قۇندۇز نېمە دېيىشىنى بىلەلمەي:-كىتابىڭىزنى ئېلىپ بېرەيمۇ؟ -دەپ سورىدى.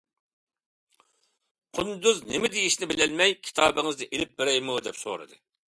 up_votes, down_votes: 2, 0